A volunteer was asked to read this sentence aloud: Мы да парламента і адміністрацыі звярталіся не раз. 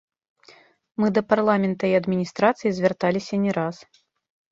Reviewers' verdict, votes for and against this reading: rejected, 1, 2